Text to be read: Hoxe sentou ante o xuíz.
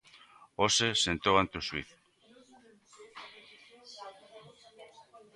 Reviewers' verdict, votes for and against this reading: rejected, 0, 2